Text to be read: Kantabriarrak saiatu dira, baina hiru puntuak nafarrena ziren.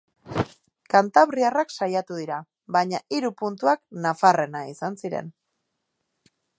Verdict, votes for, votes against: rejected, 1, 2